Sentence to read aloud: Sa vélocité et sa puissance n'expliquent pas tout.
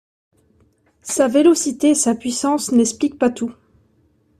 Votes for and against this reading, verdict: 0, 2, rejected